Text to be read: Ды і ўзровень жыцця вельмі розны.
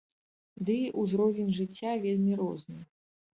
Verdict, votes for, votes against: accepted, 3, 0